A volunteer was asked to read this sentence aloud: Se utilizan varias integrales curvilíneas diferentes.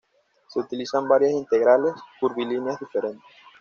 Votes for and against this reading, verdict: 2, 0, accepted